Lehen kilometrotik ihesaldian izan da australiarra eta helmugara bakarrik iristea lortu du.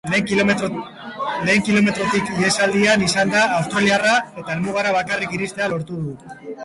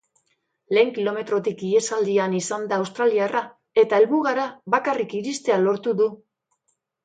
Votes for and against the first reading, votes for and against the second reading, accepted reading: 0, 2, 4, 0, second